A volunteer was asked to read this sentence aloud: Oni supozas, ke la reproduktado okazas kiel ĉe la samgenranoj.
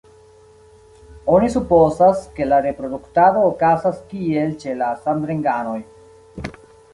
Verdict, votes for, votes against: rejected, 1, 3